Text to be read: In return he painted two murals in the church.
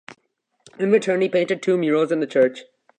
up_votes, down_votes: 2, 0